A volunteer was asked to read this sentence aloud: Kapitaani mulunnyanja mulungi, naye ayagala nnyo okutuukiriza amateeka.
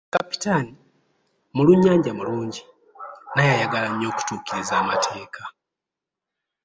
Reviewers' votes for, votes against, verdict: 0, 2, rejected